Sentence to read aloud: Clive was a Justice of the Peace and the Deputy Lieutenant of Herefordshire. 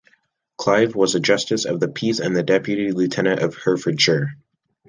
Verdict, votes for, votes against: accepted, 2, 0